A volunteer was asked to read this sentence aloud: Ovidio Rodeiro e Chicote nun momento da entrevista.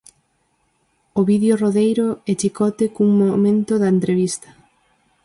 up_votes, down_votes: 2, 4